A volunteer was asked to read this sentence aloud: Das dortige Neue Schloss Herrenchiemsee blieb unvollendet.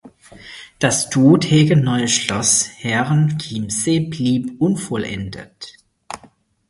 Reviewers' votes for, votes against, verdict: 0, 4, rejected